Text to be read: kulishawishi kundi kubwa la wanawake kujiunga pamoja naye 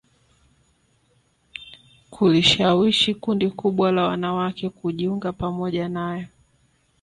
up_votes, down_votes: 2, 3